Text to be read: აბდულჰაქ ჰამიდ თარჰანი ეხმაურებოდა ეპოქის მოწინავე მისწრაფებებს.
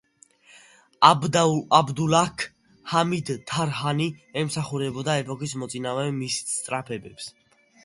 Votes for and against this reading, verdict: 0, 3, rejected